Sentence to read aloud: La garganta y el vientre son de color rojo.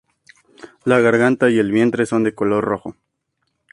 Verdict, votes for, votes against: accepted, 2, 0